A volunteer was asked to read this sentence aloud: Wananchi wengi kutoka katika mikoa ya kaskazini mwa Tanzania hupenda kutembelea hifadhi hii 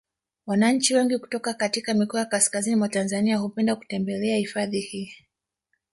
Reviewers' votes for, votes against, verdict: 0, 2, rejected